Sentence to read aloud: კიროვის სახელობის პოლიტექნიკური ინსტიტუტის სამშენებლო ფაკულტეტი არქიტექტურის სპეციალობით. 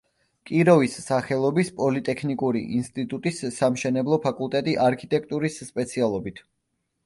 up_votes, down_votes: 2, 0